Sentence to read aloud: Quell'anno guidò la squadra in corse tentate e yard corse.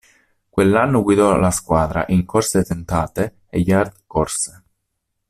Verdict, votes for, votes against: accepted, 2, 0